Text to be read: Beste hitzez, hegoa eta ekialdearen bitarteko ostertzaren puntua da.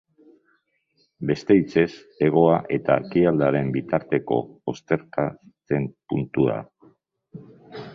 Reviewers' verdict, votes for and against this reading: rejected, 0, 2